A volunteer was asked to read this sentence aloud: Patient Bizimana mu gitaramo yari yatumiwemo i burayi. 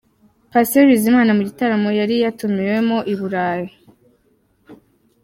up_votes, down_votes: 2, 1